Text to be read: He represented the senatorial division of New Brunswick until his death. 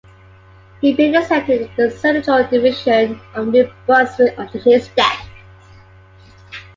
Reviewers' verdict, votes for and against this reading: accepted, 2, 0